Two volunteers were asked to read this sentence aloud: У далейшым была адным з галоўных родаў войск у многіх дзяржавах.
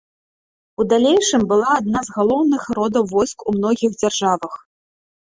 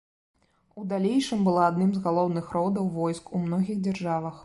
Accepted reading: second